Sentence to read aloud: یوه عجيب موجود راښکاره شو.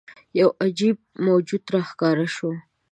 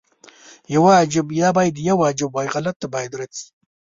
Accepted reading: first